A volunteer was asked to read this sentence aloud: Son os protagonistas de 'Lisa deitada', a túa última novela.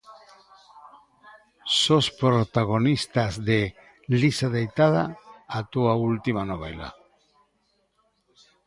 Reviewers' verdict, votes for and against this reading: rejected, 0, 3